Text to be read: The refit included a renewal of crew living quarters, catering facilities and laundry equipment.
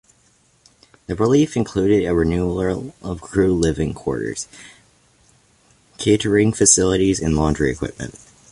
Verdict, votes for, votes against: accepted, 2, 1